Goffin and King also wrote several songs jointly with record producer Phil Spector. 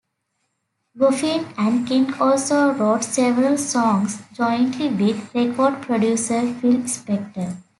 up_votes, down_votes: 2, 0